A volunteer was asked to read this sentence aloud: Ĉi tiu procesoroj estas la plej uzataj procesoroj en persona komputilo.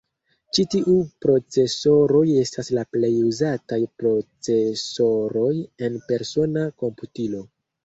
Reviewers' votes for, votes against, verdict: 2, 0, accepted